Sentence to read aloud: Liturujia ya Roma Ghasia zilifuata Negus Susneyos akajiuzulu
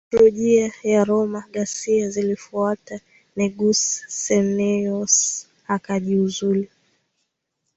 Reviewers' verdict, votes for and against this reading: accepted, 2, 1